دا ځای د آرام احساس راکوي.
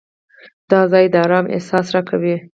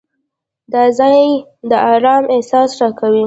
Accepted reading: second